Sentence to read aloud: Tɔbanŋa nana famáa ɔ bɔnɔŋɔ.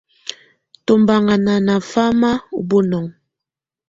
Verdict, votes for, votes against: accepted, 2, 0